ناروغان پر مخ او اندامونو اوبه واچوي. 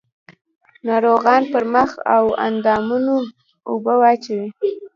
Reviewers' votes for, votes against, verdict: 1, 2, rejected